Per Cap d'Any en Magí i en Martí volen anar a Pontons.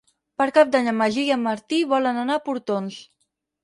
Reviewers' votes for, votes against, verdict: 0, 4, rejected